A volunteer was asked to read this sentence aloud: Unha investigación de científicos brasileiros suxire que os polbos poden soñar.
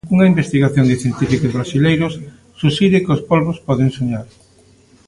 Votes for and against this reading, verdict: 0, 2, rejected